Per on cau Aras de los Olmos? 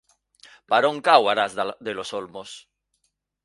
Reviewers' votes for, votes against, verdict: 0, 2, rejected